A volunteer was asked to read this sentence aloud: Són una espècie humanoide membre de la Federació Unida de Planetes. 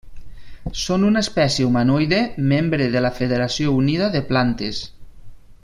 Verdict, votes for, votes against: rejected, 1, 6